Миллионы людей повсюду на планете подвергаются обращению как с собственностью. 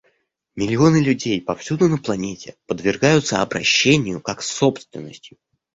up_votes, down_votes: 1, 2